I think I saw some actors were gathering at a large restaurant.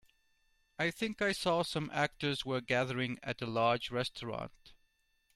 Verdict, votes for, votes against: accepted, 2, 0